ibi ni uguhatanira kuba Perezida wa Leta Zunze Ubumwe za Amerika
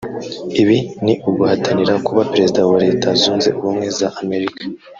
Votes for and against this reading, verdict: 1, 2, rejected